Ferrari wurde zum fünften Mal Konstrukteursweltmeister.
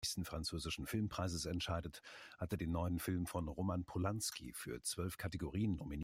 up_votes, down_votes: 0, 2